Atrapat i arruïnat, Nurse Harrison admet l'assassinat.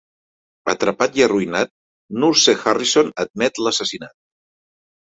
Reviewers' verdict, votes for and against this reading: accepted, 3, 0